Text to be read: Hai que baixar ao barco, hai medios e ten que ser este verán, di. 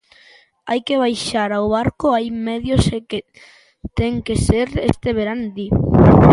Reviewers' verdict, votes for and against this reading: rejected, 0, 2